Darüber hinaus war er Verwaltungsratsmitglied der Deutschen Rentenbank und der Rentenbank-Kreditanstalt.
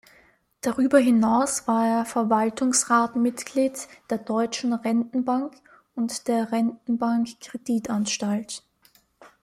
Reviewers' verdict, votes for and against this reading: rejected, 1, 2